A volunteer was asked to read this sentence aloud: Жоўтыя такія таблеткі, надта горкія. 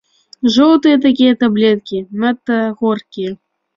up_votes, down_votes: 2, 0